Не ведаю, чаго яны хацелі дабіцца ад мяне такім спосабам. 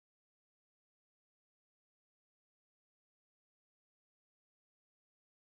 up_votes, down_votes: 1, 2